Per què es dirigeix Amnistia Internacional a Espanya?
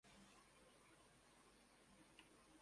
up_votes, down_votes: 0, 2